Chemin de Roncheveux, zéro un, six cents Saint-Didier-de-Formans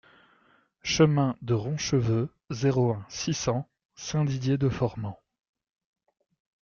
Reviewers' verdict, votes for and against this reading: accepted, 2, 0